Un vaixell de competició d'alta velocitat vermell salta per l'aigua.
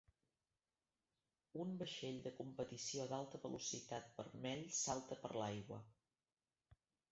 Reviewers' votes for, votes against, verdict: 0, 2, rejected